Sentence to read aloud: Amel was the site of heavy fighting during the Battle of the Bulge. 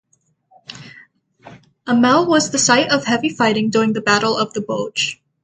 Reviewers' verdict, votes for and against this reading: accepted, 6, 0